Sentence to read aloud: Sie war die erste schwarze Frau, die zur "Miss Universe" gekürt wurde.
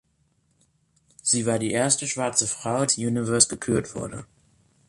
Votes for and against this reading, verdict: 1, 2, rejected